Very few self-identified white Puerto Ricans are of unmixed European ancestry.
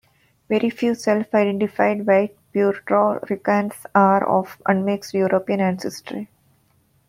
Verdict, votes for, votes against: rejected, 1, 2